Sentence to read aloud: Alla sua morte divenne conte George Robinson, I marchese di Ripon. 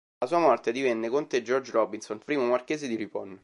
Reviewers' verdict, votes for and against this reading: rejected, 1, 2